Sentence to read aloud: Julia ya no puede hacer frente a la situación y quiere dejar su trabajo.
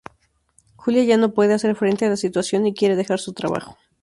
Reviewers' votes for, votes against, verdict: 2, 0, accepted